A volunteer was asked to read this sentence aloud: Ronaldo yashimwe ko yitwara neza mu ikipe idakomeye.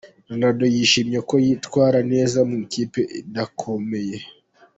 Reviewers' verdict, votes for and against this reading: rejected, 0, 2